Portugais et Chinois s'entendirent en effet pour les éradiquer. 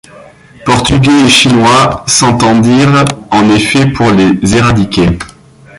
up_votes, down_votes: 1, 3